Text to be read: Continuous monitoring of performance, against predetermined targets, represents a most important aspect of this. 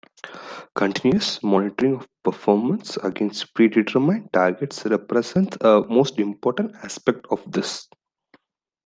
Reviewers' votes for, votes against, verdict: 2, 1, accepted